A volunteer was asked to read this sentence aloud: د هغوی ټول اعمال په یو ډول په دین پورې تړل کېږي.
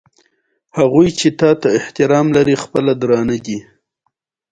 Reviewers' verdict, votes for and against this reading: accepted, 2, 0